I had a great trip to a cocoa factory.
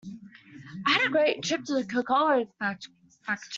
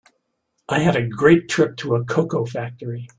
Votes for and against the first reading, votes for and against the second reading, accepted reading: 0, 2, 2, 0, second